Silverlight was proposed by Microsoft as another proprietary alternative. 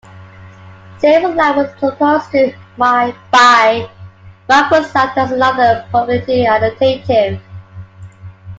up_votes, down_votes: 0, 2